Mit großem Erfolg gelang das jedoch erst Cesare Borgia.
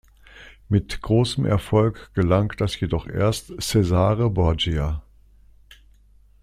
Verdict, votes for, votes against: accepted, 2, 0